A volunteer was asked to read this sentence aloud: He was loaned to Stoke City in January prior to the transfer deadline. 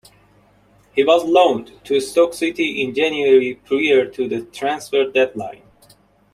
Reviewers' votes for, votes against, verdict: 0, 2, rejected